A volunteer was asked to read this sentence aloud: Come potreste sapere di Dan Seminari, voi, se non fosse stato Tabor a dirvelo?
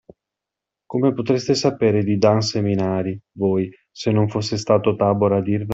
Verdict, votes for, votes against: rejected, 1, 2